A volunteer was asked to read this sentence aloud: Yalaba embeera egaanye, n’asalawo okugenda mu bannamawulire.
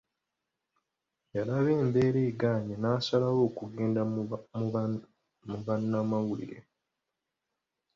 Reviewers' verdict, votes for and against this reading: rejected, 1, 2